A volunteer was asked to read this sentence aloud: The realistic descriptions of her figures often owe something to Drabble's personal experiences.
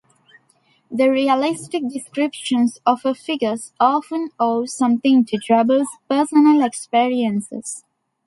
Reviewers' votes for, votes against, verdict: 2, 0, accepted